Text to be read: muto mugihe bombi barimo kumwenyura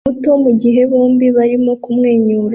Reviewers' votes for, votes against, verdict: 2, 0, accepted